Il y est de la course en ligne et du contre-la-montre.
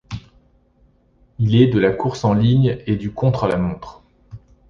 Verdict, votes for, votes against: rejected, 1, 2